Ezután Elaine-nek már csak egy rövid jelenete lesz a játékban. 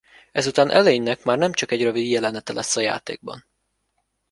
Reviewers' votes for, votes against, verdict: 1, 2, rejected